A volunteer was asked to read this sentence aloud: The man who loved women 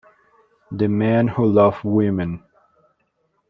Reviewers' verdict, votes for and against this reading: rejected, 1, 2